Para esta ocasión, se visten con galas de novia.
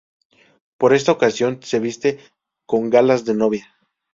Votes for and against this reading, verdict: 0, 2, rejected